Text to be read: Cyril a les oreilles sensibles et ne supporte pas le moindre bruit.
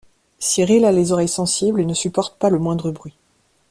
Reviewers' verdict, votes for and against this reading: accepted, 2, 0